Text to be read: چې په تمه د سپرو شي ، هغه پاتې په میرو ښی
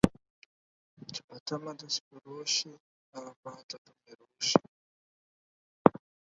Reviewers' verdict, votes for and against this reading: rejected, 0, 4